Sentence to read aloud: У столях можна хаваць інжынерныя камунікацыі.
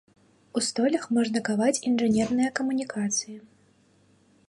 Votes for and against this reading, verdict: 1, 2, rejected